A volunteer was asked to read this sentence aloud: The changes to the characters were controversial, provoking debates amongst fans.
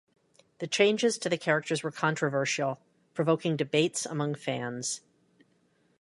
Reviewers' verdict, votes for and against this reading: rejected, 1, 2